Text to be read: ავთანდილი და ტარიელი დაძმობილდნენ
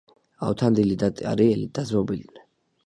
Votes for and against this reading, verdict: 2, 0, accepted